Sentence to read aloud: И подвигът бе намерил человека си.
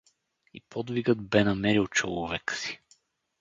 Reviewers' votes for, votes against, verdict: 0, 4, rejected